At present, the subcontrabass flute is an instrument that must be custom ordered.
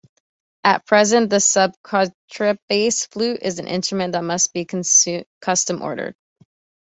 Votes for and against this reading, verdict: 1, 2, rejected